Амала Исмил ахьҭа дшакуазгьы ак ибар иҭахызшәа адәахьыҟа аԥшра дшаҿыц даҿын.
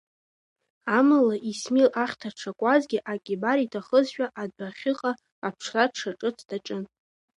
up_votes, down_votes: 2, 0